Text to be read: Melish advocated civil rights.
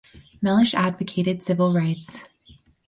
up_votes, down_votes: 4, 0